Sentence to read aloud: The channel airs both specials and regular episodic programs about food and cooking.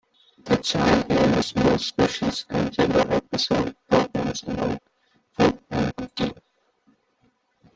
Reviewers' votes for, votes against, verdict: 0, 2, rejected